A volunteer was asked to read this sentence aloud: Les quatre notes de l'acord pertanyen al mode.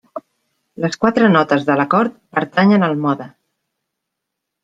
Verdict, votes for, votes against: accepted, 3, 0